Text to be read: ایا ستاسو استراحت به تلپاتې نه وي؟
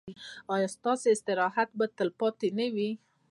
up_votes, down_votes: 2, 0